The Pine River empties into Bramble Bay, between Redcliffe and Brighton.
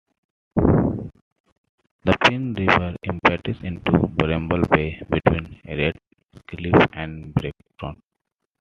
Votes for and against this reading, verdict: 0, 2, rejected